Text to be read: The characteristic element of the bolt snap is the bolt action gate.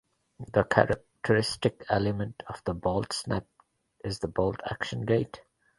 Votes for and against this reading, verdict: 2, 0, accepted